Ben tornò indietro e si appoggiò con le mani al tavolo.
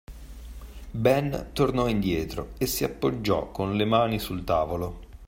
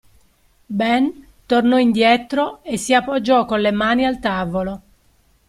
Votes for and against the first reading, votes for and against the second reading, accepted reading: 0, 2, 2, 0, second